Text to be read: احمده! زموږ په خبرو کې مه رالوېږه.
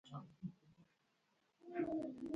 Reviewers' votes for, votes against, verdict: 0, 2, rejected